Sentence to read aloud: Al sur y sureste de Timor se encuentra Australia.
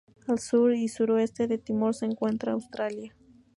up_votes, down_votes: 2, 0